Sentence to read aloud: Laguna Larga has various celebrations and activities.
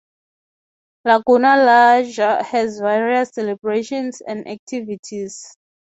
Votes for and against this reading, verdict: 3, 0, accepted